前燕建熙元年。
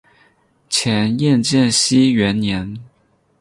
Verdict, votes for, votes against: accepted, 6, 0